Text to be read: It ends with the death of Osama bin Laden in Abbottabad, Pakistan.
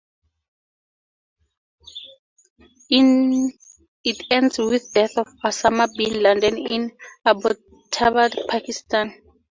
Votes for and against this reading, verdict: 0, 2, rejected